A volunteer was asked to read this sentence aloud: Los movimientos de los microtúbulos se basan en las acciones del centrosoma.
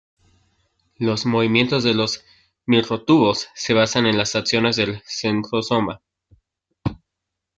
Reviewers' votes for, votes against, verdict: 0, 2, rejected